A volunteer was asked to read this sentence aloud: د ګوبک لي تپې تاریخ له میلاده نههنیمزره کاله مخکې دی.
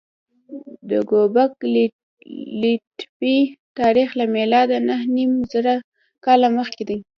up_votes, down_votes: 1, 2